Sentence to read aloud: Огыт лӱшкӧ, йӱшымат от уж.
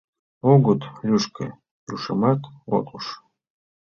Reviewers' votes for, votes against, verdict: 1, 2, rejected